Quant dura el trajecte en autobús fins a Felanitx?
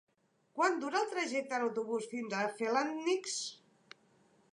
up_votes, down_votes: 1, 2